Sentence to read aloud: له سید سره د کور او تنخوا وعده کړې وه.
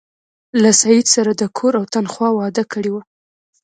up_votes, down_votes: 2, 0